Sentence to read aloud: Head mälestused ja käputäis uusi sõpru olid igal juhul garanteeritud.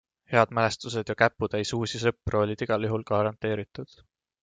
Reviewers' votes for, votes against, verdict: 2, 0, accepted